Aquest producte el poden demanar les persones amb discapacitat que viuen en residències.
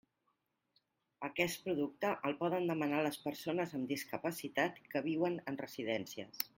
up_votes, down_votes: 0, 2